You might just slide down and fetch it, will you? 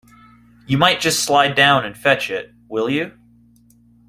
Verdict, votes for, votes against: accepted, 2, 0